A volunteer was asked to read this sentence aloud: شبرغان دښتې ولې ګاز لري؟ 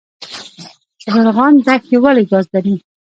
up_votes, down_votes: 1, 2